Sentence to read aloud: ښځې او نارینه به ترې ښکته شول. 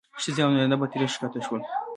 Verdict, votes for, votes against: accepted, 2, 0